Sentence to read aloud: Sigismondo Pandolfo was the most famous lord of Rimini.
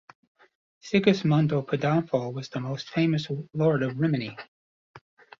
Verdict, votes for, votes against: accepted, 2, 1